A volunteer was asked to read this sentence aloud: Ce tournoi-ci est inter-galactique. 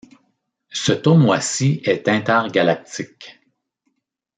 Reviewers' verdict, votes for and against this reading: accepted, 2, 0